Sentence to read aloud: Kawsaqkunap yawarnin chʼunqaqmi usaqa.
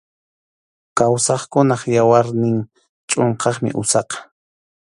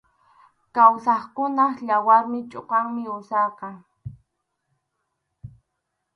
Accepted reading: first